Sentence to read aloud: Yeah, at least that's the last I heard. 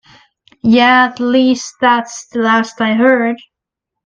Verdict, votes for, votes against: accepted, 2, 1